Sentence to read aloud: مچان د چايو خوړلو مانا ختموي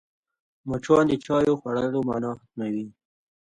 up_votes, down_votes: 2, 0